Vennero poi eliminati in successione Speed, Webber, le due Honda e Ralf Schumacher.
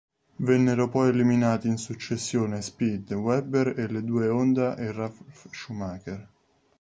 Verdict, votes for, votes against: rejected, 0, 2